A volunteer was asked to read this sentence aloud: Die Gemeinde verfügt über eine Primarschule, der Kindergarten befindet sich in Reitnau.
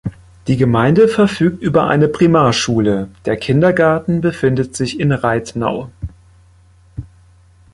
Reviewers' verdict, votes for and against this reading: accepted, 2, 1